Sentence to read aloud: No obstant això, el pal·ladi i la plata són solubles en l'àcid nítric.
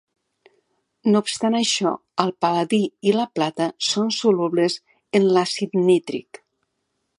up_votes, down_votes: 2, 0